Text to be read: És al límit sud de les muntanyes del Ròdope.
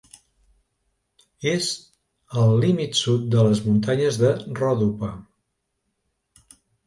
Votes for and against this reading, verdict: 0, 2, rejected